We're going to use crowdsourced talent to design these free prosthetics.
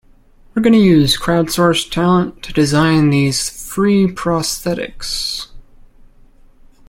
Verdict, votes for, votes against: rejected, 1, 2